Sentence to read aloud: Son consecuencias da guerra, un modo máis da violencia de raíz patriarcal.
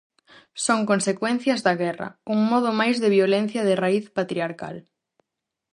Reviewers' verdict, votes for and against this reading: rejected, 2, 2